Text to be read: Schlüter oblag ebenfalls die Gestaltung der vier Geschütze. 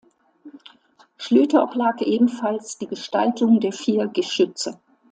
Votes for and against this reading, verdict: 2, 0, accepted